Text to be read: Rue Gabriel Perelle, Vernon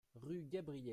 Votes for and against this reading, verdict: 0, 2, rejected